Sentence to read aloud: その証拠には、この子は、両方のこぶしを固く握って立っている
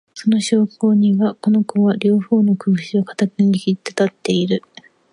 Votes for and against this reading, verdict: 3, 0, accepted